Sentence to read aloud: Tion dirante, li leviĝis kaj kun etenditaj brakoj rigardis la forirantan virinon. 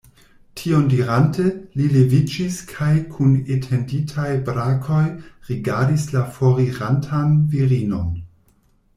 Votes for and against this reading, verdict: 2, 0, accepted